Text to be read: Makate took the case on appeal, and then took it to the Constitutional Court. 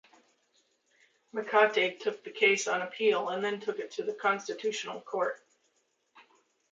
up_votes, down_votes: 2, 0